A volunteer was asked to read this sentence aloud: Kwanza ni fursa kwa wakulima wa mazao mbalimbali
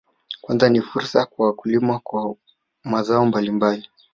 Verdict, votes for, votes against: rejected, 1, 2